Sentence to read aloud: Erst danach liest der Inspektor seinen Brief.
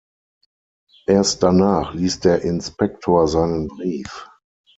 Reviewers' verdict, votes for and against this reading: accepted, 6, 0